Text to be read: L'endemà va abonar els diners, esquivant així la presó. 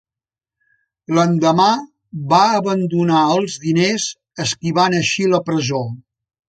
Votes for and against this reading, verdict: 1, 2, rejected